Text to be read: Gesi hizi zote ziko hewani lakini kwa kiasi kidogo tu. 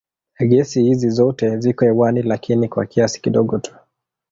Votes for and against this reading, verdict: 1, 2, rejected